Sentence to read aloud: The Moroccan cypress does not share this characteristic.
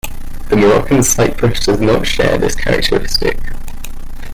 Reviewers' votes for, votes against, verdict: 2, 0, accepted